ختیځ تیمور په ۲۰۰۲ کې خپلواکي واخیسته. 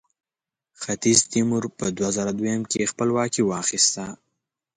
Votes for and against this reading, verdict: 0, 2, rejected